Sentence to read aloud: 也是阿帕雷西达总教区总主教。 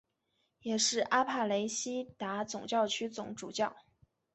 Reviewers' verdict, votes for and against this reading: accepted, 3, 0